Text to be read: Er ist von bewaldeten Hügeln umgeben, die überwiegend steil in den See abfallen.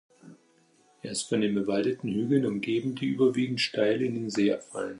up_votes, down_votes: 0, 2